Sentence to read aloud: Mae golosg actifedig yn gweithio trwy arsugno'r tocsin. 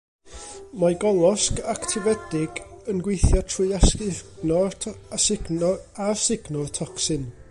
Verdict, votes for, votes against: rejected, 0, 2